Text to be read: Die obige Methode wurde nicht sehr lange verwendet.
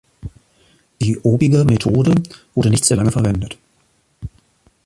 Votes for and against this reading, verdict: 1, 2, rejected